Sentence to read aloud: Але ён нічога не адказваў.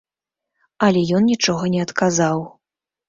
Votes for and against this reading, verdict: 0, 2, rejected